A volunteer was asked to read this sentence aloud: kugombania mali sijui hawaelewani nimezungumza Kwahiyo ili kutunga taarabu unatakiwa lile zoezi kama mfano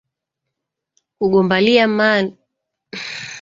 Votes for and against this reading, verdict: 1, 3, rejected